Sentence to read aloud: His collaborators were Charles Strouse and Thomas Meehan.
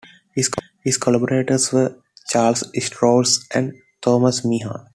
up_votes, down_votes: 1, 2